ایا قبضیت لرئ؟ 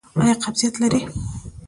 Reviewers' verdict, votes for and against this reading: rejected, 1, 2